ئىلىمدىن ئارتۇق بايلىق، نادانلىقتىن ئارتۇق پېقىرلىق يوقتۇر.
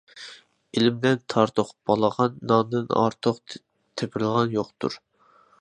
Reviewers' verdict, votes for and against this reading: rejected, 0, 2